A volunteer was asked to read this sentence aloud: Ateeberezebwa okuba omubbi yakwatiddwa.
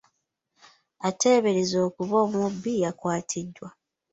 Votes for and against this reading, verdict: 2, 0, accepted